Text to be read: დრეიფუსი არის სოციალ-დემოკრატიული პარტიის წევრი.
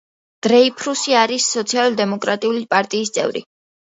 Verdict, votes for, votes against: rejected, 0, 2